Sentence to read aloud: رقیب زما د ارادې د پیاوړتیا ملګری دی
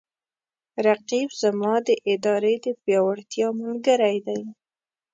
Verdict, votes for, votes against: rejected, 1, 2